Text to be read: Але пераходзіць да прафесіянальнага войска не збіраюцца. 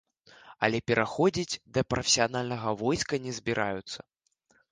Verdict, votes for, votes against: accepted, 2, 0